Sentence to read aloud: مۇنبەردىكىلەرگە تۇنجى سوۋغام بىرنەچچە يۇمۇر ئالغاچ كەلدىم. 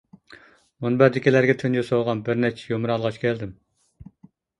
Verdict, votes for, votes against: rejected, 0, 2